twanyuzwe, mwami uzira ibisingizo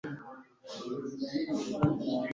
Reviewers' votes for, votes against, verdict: 0, 2, rejected